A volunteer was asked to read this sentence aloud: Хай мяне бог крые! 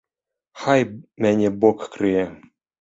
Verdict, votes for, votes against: rejected, 1, 2